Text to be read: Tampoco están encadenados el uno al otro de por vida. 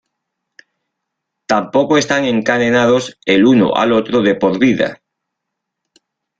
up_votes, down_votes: 2, 0